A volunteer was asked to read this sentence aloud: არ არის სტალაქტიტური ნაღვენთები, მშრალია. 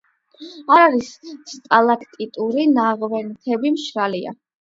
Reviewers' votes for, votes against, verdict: 8, 0, accepted